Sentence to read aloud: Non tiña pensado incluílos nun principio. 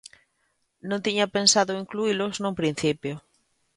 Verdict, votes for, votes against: accepted, 2, 1